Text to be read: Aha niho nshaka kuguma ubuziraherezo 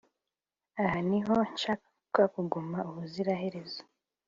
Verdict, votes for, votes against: accepted, 2, 0